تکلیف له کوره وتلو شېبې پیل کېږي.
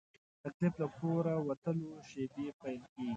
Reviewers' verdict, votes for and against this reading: rejected, 1, 2